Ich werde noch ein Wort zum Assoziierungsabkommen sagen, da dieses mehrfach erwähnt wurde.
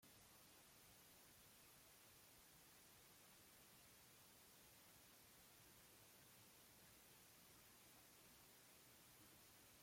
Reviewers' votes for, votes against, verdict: 0, 2, rejected